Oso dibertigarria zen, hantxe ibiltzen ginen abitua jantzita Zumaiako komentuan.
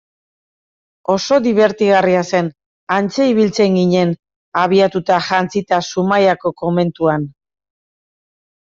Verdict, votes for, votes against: rejected, 1, 2